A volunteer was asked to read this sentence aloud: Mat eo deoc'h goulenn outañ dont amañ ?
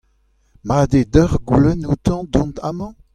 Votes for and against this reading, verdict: 2, 1, accepted